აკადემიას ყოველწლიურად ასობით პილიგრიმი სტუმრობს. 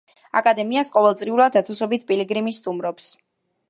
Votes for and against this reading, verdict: 1, 2, rejected